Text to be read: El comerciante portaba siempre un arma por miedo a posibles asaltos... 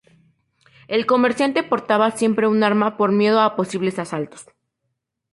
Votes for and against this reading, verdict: 2, 0, accepted